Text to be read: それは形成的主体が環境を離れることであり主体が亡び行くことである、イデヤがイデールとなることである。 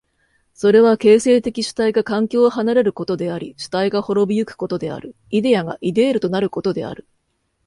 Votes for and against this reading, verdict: 2, 0, accepted